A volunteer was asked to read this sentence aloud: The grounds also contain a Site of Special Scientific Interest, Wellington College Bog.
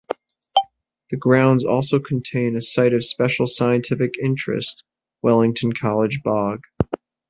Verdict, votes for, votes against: accepted, 2, 0